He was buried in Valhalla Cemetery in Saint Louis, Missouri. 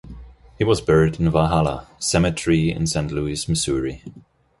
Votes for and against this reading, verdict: 2, 0, accepted